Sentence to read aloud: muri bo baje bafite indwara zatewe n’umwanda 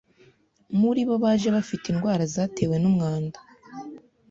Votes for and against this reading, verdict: 2, 0, accepted